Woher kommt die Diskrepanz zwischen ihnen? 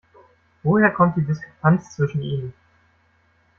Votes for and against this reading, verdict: 1, 2, rejected